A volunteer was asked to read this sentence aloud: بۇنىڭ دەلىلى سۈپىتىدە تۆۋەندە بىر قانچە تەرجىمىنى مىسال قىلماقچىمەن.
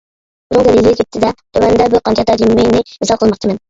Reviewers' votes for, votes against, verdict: 1, 2, rejected